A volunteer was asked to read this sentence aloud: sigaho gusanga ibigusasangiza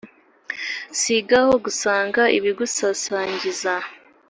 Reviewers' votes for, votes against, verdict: 3, 0, accepted